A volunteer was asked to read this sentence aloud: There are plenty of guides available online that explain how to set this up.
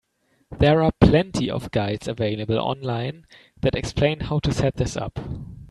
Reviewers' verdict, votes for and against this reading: accepted, 3, 0